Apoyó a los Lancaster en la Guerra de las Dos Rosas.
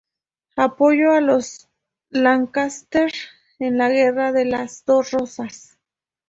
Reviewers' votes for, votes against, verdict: 2, 0, accepted